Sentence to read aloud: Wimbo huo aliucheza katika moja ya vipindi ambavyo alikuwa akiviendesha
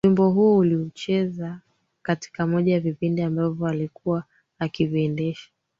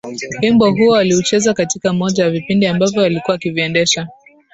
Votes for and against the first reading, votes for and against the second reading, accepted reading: 1, 4, 2, 1, second